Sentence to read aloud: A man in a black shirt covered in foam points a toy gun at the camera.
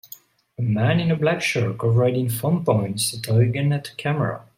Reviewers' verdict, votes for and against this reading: accepted, 2, 1